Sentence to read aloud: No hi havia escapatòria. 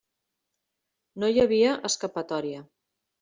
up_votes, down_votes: 3, 0